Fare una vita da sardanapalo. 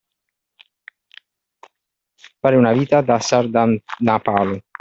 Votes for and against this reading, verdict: 2, 0, accepted